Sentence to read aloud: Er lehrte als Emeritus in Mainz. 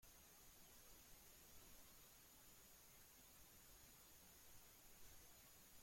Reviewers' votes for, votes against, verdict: 0, 2, rejected